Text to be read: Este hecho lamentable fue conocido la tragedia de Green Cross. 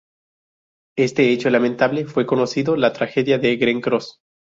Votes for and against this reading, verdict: 2, 0, accepted